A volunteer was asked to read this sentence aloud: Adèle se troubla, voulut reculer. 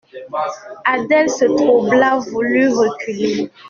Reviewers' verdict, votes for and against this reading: accepted, 2, 0